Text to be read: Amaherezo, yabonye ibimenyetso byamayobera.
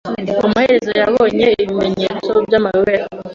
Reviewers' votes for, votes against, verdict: 3, 0, accepted